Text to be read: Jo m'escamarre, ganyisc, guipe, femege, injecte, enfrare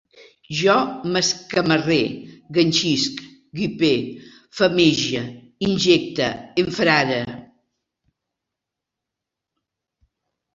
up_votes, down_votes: 0, 2